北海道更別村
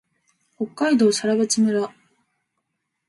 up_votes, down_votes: 2, 0